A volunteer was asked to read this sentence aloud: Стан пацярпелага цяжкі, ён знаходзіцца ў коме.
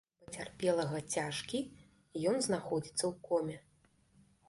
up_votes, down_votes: 1, 2